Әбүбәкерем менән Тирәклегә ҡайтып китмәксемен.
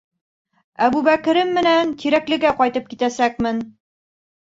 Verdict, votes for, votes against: rejected, 0, 2